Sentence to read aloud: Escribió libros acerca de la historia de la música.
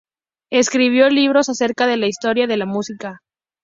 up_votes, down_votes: 2, 0